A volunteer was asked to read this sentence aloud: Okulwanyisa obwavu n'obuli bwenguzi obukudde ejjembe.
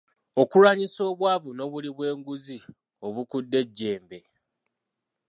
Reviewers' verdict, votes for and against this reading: accepted, 2, 0